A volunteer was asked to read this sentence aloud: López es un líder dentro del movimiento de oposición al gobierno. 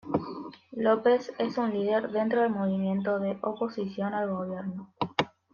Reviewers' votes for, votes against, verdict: 2, 0, accepted